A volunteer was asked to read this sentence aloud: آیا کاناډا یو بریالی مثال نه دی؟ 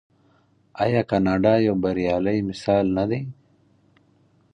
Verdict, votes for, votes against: accepted, 4, 0